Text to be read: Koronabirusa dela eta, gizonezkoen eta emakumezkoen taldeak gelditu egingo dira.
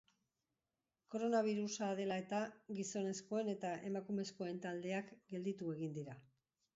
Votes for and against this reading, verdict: 2, 1, accepted